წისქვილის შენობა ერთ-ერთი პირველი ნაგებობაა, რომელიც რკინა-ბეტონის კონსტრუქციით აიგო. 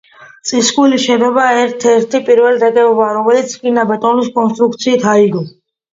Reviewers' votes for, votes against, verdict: 2, 0, accepted